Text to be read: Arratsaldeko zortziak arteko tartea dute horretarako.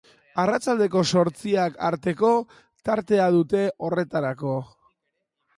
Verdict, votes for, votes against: accepted, 2, 0